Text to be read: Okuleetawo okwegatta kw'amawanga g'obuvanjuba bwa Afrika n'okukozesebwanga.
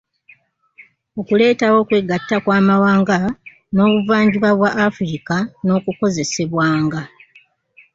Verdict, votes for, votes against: rejected, 0, 2